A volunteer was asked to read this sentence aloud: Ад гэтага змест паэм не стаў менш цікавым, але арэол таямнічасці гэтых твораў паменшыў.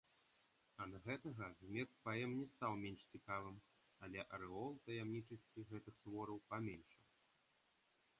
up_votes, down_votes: 2, 1